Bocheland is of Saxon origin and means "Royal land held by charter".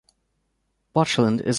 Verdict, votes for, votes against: rejected, 0, 3